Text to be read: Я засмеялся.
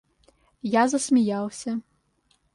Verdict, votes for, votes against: accepted, 2, 0